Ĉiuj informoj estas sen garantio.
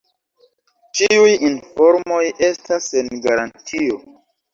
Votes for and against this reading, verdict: 2, 0, accepted